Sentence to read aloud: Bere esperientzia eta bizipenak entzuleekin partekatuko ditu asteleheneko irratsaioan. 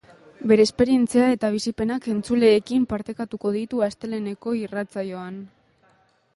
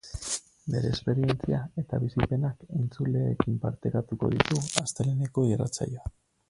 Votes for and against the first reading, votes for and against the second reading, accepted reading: 3, 1, 0, 2, first